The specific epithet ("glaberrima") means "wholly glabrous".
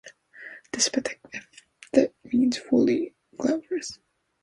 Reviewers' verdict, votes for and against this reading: rejected, 0, 2